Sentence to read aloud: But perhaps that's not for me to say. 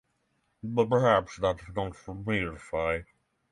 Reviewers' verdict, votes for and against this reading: accepted, 6, 3